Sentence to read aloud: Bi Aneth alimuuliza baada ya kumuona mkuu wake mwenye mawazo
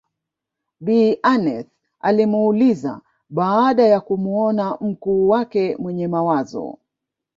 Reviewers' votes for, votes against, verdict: 2, 0, accepted